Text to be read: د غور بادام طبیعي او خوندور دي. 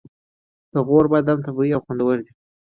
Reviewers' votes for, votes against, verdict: 3, 0, accepted